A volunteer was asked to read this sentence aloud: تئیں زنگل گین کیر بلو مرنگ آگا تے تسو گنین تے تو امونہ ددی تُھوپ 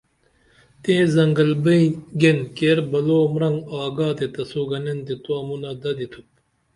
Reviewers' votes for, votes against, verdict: 2, 0, accepted